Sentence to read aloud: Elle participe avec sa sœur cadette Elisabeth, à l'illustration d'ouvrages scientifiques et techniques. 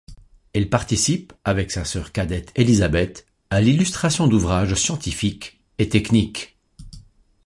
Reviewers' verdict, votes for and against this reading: accepted, 2, 1